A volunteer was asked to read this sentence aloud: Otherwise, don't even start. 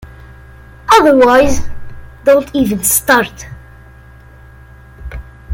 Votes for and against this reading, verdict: 2, 0, accepted